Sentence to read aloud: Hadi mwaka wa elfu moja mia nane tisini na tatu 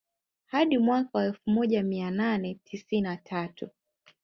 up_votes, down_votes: 1, 2